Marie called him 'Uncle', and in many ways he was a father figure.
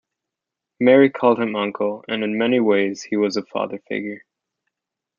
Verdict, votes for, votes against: accepted, 2, 0